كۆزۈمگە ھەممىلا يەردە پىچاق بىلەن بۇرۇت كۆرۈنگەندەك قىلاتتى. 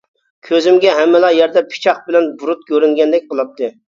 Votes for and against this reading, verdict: 2, 0, accepted